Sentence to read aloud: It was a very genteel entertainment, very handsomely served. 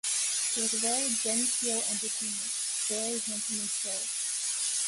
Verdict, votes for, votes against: rejected, 0, 2